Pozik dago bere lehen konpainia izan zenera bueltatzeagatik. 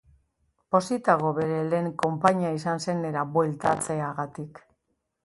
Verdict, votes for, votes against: accepted, 2, 0